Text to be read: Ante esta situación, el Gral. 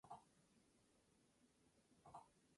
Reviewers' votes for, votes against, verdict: 0, 2, rejected